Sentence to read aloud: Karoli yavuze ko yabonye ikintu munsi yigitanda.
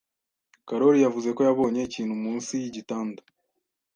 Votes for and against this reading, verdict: 2, 0, accepted